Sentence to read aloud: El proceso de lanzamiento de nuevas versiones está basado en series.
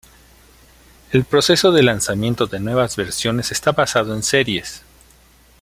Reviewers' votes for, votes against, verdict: 2, 0, accepted